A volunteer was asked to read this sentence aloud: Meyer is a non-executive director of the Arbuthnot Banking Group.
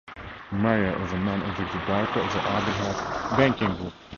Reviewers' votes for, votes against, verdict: 2, 2, rejected